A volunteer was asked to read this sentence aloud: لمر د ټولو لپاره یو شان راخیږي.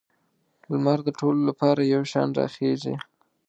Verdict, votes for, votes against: accepted, 2, 0